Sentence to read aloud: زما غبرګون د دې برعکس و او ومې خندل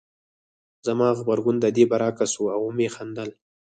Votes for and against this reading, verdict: 0, 4, rejected